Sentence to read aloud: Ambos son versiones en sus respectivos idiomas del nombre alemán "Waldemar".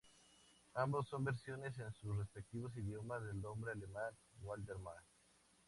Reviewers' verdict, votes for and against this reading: accepted, 2, 0